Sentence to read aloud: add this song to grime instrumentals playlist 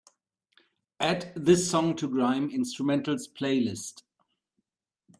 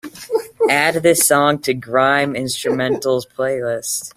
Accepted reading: first